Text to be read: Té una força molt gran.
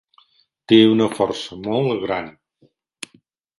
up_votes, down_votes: 3, 1